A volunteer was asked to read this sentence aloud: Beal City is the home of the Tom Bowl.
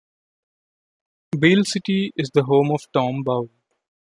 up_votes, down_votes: 1, 2